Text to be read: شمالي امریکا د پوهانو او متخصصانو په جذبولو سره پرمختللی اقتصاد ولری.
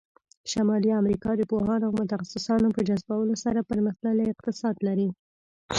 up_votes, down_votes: 1, 2